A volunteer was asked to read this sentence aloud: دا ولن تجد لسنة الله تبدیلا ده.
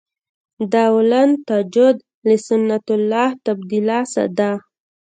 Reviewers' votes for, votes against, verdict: 1, 2, rejected